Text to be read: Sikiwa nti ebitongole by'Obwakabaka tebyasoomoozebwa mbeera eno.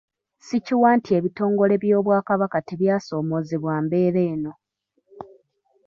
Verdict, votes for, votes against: rejected, 1, 2